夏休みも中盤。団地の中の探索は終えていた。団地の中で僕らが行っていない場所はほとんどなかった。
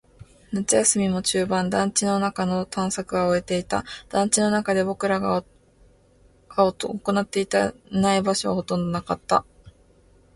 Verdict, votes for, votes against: rejected, 1, 3